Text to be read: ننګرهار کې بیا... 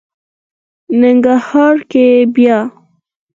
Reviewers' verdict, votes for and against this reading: accepted, 4, 0